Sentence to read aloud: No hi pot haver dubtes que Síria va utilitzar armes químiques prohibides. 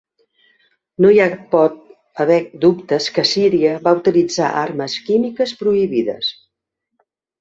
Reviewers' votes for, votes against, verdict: 1, 2, rejected